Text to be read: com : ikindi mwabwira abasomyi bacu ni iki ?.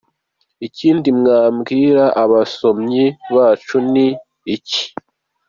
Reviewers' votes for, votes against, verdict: 2, 1, accepted